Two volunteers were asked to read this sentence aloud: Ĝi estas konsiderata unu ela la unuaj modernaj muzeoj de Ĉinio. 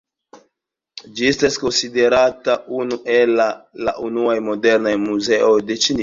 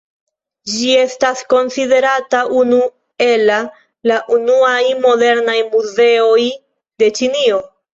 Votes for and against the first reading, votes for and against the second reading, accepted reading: 0, 2, 2, 1, second